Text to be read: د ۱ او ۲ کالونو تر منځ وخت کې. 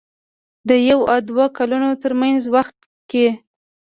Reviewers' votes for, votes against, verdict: 0, 2, rejected